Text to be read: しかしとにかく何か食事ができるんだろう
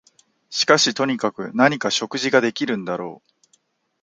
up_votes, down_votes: 2, 0